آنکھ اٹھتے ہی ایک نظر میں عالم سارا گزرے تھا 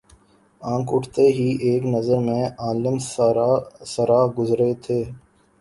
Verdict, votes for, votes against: rejected, 1, 2